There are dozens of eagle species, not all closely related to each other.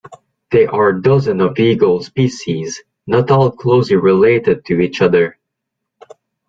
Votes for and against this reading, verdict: 1, 2, rejected